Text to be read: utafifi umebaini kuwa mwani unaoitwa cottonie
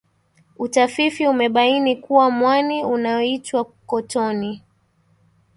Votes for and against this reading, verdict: 1, 2, rejected